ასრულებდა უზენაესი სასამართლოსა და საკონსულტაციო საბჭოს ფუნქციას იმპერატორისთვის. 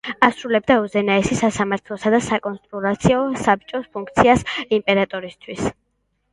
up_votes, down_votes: 2, 0